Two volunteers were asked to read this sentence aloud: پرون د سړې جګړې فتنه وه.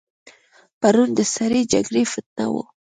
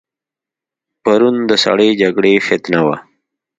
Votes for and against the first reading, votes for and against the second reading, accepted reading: 1, 2, 3, 0, second